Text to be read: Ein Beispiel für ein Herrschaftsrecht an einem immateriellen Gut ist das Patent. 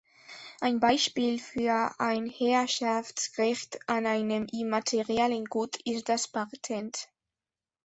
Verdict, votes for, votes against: accepted, 2, 1